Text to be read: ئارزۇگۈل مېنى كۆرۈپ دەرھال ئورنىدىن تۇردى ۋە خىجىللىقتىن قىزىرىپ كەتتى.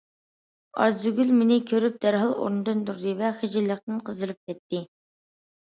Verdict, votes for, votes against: accepted, 2, 0